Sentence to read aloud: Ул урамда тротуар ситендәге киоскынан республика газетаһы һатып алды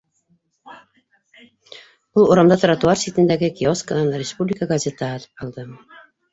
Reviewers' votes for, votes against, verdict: 1, 2, rejected